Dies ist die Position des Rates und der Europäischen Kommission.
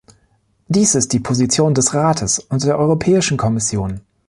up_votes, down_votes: 0, 2